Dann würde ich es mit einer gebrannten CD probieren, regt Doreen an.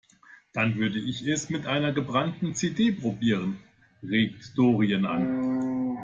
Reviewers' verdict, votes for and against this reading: accepted, 2, 0